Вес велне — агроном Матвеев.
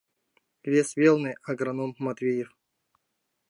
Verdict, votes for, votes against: accepted, 2, 0